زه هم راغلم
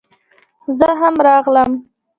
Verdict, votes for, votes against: rejected, 1, 2